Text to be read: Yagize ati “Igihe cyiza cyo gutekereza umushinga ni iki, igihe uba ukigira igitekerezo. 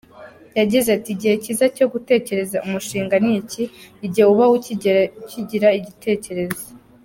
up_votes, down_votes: 0, 2